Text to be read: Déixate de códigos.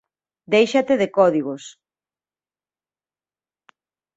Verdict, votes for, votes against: accepted, 2, 0